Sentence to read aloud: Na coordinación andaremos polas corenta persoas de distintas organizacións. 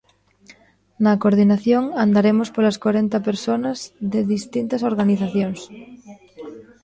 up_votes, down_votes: 0, 2